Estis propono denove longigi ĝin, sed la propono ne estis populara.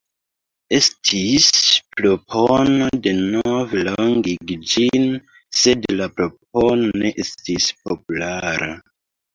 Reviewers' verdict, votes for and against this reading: rejected, 0, 2